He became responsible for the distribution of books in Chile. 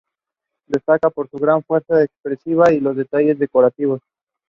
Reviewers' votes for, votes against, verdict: 0, 2, rejected